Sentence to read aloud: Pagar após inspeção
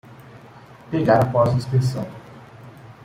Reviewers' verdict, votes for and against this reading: rejected, 0, 2